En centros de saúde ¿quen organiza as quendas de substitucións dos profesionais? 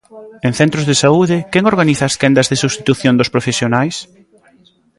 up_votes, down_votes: 0, 2